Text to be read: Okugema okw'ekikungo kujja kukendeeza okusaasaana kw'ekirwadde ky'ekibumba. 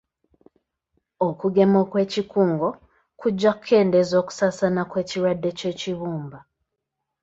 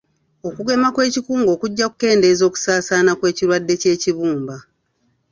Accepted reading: first